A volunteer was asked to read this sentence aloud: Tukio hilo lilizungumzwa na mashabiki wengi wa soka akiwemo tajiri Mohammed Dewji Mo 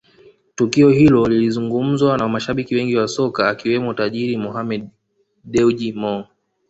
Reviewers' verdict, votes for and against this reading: accepted, 2, 0